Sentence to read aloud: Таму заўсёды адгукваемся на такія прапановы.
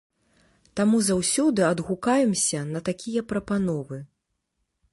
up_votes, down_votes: 0, 2